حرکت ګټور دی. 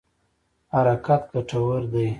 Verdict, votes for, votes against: accepted, 2, 0